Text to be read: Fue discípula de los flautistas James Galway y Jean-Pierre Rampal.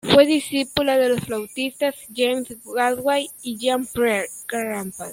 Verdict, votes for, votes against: rejected, 0, 2